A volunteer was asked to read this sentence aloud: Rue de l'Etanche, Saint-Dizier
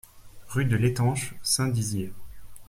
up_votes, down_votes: 2, 0